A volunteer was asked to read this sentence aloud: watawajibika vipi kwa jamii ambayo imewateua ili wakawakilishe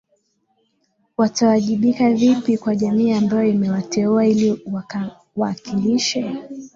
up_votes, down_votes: 2, 0